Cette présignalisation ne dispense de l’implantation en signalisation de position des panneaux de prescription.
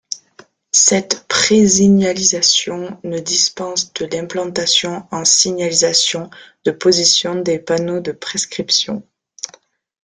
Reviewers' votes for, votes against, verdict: 1, 2, rejected